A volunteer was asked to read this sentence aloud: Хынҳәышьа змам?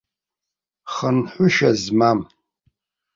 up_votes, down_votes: 2, 0